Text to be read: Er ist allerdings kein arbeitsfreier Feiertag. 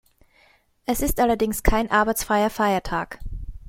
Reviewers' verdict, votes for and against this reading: rejected, 1, 2